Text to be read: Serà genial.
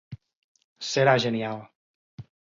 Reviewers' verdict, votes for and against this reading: accepted, 4, 0